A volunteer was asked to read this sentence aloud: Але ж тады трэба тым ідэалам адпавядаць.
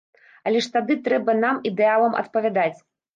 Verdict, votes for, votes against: rejected, 1, 2